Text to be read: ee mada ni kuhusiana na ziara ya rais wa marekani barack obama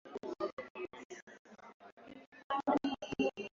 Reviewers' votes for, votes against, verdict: 0, 2, rejected